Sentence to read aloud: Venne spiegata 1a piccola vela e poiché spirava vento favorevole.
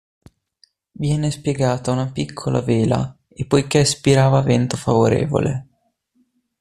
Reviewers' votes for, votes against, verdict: 0, 2, rejected